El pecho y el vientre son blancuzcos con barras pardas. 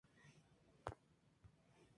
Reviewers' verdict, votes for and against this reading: rejected, 0, 4